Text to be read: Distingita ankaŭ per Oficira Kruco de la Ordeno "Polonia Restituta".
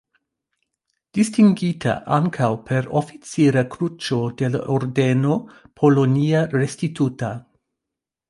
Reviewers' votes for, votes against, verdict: 0, 2, rejected